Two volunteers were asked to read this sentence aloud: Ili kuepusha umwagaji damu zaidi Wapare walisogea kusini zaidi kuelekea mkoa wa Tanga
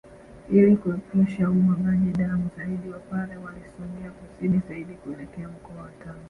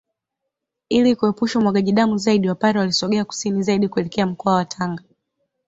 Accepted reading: second